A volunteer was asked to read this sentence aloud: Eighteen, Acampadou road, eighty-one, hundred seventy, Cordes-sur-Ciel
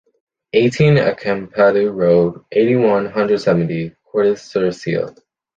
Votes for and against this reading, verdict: 2, 0, accepted